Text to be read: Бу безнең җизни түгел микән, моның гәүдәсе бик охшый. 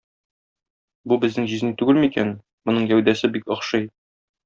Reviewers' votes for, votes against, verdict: 2, 0, accepted